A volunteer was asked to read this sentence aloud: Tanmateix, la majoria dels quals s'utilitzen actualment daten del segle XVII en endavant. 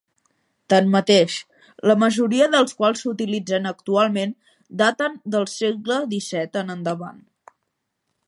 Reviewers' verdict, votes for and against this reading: accepted, 5, 0